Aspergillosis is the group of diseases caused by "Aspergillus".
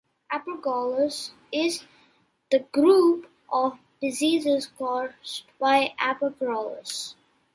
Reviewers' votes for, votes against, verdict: 0, 2, rejected